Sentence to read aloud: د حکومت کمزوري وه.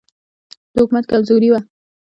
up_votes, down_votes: 0, 2